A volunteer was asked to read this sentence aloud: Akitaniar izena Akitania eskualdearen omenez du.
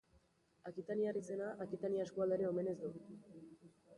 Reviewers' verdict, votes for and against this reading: rejected, 0, 2